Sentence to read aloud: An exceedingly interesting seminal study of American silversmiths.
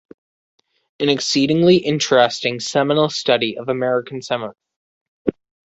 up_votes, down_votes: 0, 2